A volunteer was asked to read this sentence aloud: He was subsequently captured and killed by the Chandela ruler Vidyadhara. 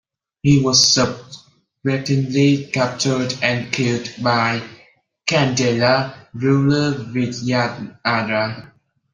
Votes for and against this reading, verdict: 0, 2, rejected